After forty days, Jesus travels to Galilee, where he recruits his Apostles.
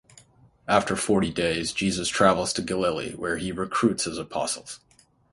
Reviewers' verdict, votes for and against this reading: rejected, 3, 3